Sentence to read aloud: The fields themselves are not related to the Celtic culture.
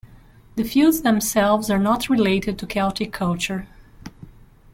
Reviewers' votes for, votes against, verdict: 1, 2, rejected